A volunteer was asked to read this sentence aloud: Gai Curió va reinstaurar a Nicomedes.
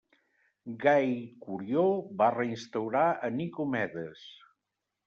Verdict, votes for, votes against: accepted, 2, 0